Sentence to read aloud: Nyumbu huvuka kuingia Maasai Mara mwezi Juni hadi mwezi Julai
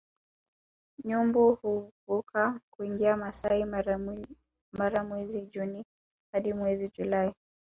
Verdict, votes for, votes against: rejected, 1, 2